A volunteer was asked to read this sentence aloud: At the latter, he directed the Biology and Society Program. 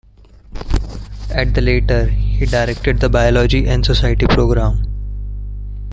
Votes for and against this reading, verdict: 0, 2, rejected